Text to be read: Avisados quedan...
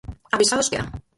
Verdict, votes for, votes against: rejected, 2, 4